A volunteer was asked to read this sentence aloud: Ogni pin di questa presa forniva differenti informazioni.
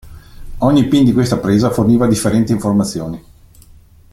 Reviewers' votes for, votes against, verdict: 1, 2, rejected